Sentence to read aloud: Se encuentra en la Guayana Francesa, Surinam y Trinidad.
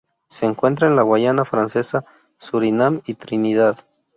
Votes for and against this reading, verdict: 0, 2, rejected